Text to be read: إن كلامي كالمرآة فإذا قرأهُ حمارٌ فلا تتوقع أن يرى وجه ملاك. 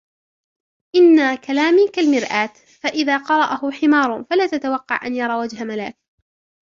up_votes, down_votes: 0, 2